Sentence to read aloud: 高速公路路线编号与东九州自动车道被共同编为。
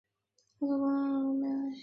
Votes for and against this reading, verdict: 0, 2, rejected